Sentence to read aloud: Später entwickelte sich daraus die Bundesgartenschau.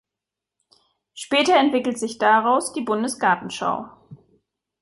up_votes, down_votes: 1, 3